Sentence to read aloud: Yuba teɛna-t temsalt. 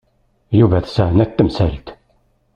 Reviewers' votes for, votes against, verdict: 0, 2, rejected